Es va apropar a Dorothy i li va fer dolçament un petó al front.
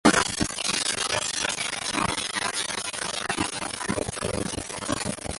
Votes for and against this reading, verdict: 0, 2, rejected